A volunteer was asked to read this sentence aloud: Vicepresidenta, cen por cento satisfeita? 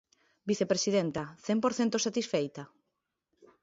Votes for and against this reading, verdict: 2, 0, accepted